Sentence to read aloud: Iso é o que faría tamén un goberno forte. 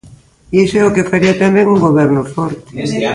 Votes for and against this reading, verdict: 1, 2, rejected